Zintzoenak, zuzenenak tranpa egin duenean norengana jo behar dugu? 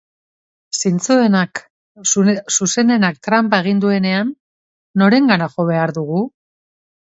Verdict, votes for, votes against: rejected, 0, 2